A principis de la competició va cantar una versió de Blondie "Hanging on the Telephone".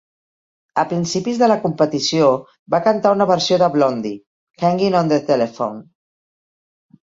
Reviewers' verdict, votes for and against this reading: accepted, 3, 0